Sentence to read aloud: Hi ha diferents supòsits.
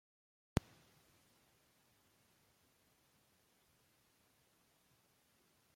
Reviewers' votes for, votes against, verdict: 0, 2, rejected